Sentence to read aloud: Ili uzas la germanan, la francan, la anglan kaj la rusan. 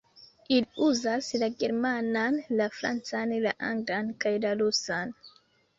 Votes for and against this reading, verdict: 0, 2, rejected